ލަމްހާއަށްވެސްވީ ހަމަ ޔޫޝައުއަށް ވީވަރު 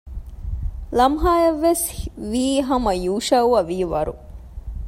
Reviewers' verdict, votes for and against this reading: rejected, 1, 2